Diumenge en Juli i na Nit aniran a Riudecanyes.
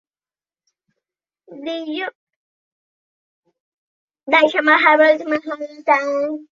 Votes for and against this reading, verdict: 0, 2, rejected